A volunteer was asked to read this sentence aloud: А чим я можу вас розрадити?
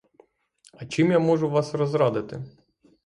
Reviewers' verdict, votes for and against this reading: rejected, 3, 3